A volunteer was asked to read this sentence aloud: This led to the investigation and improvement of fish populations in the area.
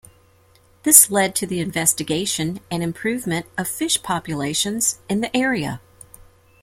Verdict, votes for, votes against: accepted, 2, 0